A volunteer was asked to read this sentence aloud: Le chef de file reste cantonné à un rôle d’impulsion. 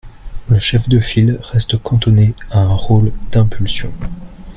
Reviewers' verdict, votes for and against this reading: accepted, 2, 0